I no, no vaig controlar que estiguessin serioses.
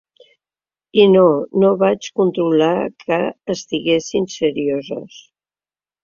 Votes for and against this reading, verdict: 3, 0, accepted